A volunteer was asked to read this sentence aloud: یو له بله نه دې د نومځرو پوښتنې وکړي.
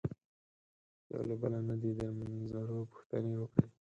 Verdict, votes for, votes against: accepted, 4, 0